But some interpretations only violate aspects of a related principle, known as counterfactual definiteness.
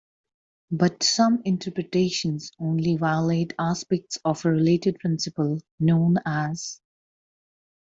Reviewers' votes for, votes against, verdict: 0, 2, rejected